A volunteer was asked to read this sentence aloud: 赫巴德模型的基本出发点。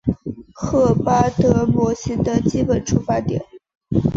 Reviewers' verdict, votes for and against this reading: accepted, 3, 0